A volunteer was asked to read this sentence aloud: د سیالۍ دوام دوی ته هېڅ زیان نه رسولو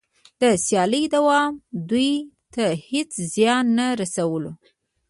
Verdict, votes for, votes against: accepted, 2, 0